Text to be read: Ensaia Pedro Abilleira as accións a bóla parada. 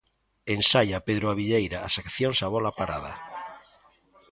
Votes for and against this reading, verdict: 2, 1, accepted